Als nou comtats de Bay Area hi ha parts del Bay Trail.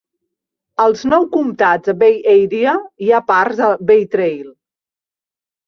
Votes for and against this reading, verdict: 1, 2, rejected